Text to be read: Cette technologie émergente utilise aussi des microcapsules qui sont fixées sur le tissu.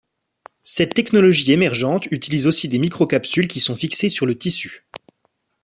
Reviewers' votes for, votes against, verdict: 2, 0, accepted